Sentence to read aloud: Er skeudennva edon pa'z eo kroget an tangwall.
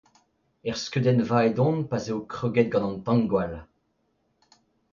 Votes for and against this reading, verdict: 2, 0, accepted